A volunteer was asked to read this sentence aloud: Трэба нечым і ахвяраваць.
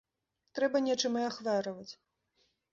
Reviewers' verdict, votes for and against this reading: rejected, 1, 2